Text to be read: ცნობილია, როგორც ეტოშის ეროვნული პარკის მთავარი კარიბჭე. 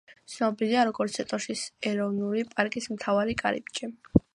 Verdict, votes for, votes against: accepted, 2, 1